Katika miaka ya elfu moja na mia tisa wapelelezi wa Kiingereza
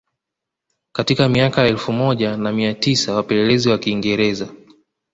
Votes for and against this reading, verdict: 2, 0, accepted